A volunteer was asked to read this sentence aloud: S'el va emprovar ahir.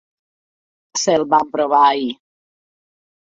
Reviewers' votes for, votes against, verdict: 2, 0, accepted